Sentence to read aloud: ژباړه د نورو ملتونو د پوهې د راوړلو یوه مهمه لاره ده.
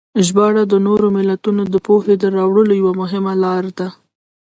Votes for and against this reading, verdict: 1, 2, rejected